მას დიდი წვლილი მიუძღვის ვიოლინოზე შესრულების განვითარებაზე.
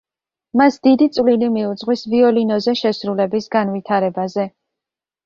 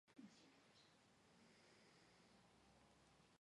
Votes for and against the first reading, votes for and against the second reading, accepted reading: 2, 1, 1, 2, first